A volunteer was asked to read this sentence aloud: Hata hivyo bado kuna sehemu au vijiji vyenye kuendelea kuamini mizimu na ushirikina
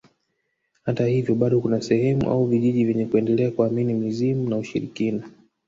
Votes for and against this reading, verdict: 2, 0, accepted